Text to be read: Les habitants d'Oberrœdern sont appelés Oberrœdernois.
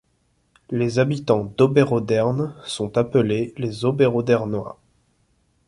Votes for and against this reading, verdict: 1, 2, rejected